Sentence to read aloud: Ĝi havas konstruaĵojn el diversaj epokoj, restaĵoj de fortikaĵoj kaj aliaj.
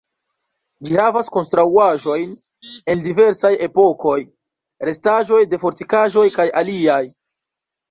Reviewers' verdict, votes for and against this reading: rejected, 2, 3